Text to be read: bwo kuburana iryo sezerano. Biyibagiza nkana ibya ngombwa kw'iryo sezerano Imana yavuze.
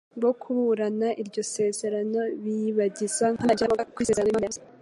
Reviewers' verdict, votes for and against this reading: rejected, 1, 2